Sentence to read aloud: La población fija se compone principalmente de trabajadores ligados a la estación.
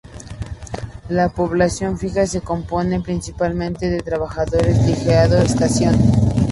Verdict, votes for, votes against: rejected, 2, 2